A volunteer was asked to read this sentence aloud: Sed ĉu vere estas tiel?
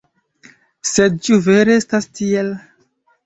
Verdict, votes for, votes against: accepted, 2, 1